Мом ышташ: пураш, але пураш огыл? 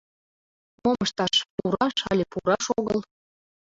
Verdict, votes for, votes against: rejected, 1, 2